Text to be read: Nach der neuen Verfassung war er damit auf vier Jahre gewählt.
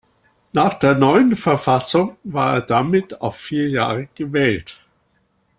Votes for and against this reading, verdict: 2, 0, accepted